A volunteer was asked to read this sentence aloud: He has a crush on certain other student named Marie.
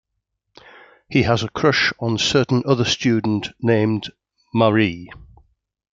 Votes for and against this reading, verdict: 2, 0, accepted